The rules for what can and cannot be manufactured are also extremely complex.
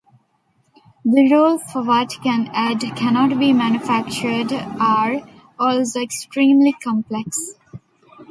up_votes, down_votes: 1, 2